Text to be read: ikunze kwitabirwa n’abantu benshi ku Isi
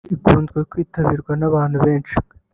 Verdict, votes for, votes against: rejected, 0, 2